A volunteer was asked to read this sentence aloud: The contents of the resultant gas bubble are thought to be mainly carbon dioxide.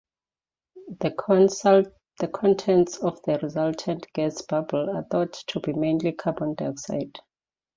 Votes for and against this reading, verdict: 0, 2, rejected